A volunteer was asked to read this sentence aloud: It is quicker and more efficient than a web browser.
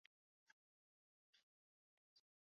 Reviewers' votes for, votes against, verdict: 0, 2, rejected